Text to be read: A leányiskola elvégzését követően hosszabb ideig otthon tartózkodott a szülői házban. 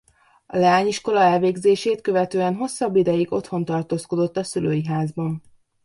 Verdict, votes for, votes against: accepted, 2, 0